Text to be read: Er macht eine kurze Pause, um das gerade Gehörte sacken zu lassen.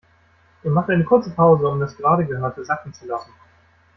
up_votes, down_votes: 2, 0